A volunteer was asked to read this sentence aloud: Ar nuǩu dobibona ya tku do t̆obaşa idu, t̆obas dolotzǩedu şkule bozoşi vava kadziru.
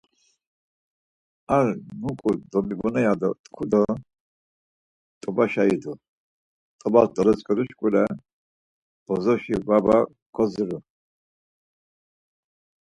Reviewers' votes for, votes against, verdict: 4, 0, accepted